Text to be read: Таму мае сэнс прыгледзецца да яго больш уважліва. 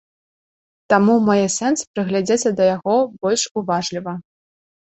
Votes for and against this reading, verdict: 2, 1, accepted